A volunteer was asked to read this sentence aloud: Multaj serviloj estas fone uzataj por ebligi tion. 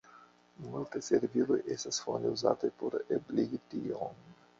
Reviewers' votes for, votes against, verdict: 1, 2, rejected